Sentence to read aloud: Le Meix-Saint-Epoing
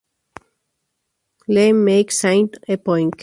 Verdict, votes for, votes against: rejected, 0, 2